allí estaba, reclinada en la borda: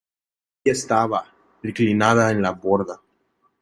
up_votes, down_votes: 0, 2